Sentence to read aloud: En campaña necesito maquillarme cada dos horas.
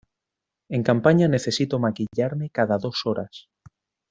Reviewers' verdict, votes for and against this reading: accepted, 2, 0